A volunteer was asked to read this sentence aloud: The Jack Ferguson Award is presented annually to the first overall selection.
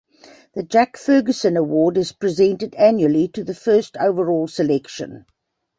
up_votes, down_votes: 2, 0